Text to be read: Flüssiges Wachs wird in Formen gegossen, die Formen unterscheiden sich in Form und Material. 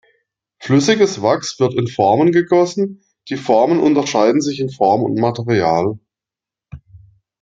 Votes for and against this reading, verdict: 2, 0, accepted